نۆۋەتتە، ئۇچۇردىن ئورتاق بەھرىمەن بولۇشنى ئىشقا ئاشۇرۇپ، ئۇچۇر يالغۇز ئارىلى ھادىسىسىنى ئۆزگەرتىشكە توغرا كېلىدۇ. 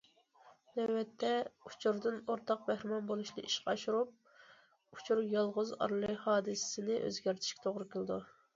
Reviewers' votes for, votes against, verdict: 2, 0, accepted